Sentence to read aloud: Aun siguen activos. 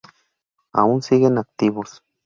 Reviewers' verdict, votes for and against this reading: rejected, 0, 2